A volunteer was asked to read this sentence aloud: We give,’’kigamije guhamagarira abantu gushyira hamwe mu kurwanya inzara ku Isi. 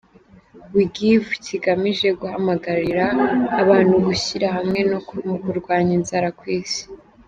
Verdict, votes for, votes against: rejected, 1, 2